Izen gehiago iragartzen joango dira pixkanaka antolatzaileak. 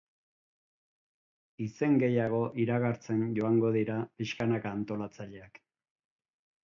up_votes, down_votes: 2, 0